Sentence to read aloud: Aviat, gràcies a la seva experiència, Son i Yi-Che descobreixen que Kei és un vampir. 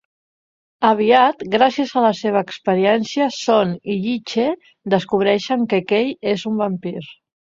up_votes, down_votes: 2, 0